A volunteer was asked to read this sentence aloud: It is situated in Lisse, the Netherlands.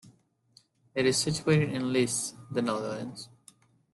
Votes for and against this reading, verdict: 2, 0, accepted